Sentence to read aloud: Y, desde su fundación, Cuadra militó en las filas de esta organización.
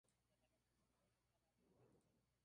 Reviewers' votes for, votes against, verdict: 0, 2, rejected